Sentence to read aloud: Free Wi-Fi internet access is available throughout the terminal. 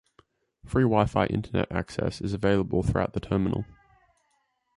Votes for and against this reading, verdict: 2, 0, accepted